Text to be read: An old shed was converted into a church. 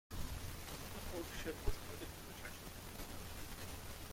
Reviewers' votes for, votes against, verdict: 0, 2, rejected